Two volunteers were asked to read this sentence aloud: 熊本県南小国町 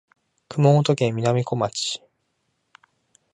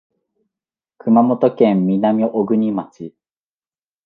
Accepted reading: second